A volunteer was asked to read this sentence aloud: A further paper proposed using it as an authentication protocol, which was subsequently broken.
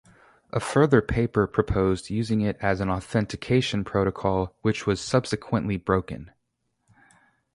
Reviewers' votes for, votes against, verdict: 2, 0, accepted